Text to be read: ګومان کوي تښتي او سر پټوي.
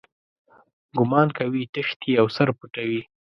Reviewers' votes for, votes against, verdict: 2, 0, accepted